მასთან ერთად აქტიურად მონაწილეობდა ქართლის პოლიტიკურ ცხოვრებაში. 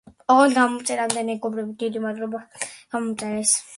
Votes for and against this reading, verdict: 0, 2, rejected